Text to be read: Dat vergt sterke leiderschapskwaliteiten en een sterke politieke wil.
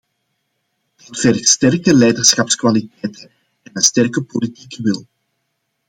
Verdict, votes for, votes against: accepted, 2, 1